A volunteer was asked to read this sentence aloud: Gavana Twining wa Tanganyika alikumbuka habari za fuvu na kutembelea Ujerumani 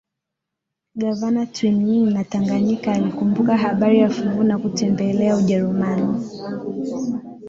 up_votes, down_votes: 9, 3